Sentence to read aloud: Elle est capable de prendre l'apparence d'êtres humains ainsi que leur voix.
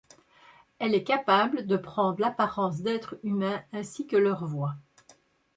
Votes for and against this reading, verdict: 1, 2, rejected